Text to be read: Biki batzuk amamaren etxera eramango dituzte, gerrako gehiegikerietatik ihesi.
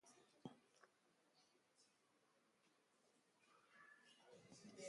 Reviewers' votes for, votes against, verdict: 0, 3, rejected